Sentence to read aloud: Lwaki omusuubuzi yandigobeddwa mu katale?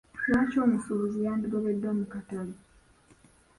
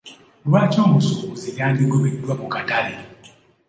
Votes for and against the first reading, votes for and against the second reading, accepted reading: 0, 2, 2, 0, second